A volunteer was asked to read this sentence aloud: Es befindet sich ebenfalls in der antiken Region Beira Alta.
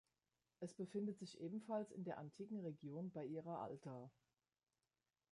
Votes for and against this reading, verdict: 1, 2, rejected